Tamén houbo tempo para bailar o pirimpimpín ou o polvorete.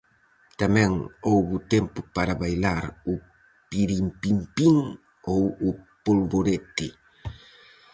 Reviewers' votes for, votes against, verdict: 4, 0, accepted